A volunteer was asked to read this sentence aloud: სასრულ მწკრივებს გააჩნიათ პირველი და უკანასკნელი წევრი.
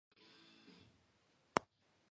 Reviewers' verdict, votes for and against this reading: rejected, 1, 2